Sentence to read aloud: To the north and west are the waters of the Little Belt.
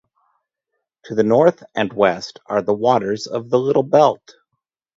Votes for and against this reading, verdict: 2, 0, accepted